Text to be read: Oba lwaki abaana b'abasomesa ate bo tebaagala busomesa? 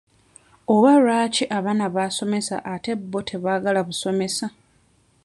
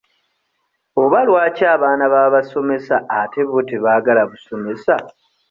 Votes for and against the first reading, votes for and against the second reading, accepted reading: 1, 2, 2, 0, second